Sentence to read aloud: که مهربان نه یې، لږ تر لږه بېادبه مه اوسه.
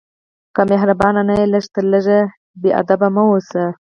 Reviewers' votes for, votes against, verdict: 2, 4, rejected